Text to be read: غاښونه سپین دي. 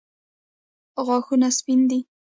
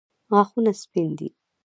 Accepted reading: first